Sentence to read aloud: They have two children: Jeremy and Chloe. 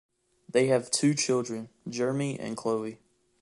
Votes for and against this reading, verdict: 2, 0, accepted